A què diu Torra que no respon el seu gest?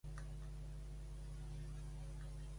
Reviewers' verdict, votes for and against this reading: rejected, 0, 5